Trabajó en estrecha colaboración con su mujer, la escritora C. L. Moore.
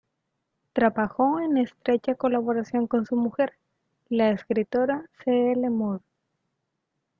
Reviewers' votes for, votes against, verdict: 0, 2, rejected